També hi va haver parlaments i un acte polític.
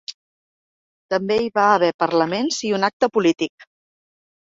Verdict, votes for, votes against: accepted, 3, 0